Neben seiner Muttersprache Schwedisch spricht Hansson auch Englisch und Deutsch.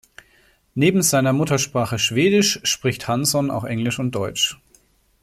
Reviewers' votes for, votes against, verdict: 2, 0, accepted